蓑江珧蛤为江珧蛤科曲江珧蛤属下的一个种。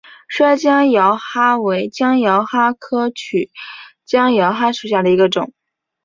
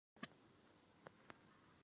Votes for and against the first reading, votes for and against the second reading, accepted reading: 2, 0, 1, 2, first